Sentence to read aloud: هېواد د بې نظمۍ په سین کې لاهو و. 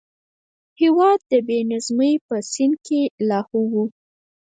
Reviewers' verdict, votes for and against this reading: rejected, 2, 4